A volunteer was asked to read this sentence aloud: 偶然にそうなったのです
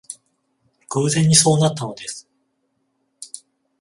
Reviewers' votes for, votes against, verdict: 14, 0, accepted